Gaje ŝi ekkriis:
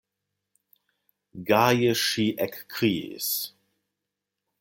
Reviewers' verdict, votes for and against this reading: accepted, 2, 0